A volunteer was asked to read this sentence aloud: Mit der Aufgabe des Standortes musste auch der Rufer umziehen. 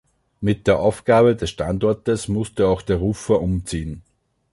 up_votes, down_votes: 2, 0